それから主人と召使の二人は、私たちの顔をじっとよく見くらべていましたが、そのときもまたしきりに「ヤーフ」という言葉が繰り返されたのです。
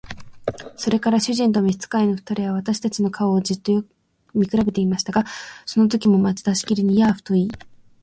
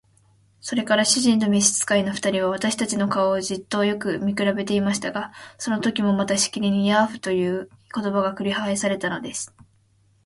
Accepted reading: second